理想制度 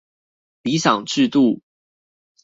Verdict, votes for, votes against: accepted, 4, 0